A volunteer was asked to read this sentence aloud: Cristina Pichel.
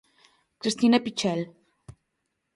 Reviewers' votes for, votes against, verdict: 2, 0, accepted